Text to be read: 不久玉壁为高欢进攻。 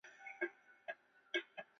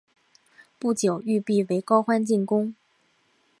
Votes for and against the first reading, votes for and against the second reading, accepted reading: 0, 3, 2, 0, second